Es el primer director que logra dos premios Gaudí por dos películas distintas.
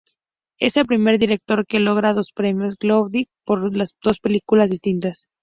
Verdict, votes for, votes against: rejected, 0, 2